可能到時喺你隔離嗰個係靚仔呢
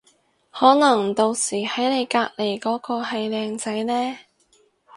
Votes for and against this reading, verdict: 4, 0, accepted